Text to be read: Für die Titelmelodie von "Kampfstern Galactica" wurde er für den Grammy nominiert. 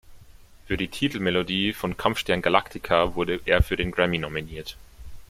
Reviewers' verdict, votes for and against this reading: accepted, 2, 0